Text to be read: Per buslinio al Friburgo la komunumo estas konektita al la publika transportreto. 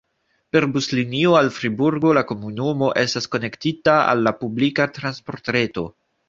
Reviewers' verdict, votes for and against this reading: accepted, 2, 0